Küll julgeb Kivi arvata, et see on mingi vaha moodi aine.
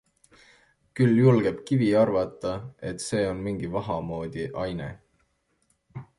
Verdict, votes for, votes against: accepted, 2, 0